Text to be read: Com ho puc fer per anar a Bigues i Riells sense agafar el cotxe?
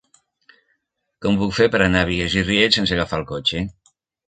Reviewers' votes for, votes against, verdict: 1, 2, rejected